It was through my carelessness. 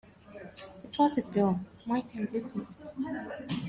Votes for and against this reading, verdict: 0, 2, rejected